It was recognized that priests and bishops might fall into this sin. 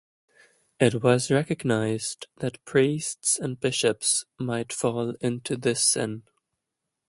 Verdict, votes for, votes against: rejected, 1, 2